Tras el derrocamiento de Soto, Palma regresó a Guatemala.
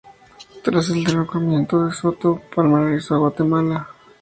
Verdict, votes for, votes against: accepted, 2, 0